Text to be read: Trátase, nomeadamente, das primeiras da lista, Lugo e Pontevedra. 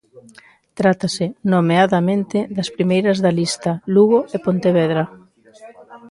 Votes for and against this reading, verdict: 1, 2, rejected